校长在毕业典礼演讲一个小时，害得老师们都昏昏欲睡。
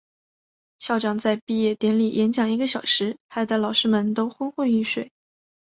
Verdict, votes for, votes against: accepted, 2, 1